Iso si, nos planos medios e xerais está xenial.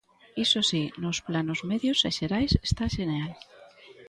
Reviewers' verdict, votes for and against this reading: accepted, 2, 1